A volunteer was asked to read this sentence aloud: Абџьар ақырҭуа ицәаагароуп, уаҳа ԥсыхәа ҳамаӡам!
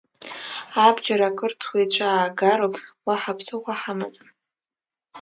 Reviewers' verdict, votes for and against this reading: accepted, 2, 0